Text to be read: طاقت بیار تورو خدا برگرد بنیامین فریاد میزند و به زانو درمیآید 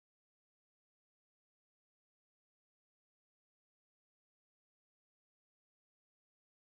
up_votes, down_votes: 0, 2